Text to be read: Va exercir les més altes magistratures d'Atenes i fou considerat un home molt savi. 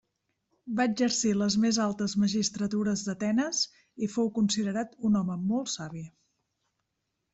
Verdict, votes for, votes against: accepted, 3, 0